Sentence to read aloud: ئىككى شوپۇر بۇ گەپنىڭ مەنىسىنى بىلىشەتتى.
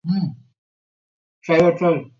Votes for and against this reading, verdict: 0, 3, rejected